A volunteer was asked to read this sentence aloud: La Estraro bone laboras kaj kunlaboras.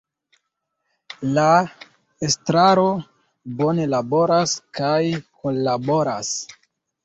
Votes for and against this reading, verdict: 2, 1, accepted